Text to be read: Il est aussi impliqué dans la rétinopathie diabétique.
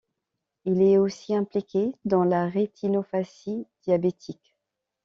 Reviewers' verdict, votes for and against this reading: accepted, 2, 0